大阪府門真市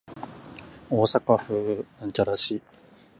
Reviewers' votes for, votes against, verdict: 0, 3, rejected